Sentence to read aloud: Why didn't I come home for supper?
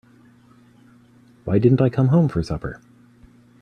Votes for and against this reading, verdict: 3, 0, accepted